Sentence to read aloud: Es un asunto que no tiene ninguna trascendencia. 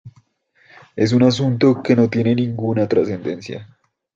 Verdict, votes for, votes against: accepted, 2, 1